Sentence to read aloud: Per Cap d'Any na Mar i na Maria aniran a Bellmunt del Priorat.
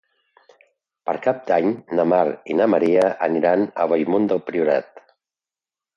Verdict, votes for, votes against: accepted, 2, 0